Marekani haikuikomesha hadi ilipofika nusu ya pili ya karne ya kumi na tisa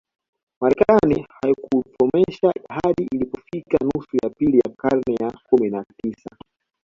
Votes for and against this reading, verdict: 1, 2, rejected